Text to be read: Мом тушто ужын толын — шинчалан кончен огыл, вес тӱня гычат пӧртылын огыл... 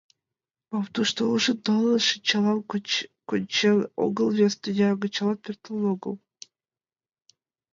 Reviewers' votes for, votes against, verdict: 1, 2, rejected